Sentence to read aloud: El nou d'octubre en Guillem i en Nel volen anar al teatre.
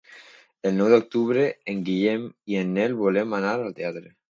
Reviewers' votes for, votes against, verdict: 0, 2, rejected